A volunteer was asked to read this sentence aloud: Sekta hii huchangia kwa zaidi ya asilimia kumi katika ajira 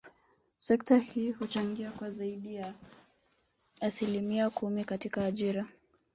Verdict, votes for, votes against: rejected, 1, 2